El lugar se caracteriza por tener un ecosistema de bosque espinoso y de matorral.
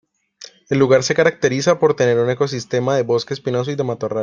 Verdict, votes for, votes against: accepted, 3, 0